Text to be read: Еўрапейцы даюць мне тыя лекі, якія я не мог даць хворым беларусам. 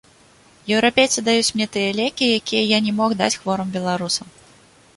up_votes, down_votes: 1, 2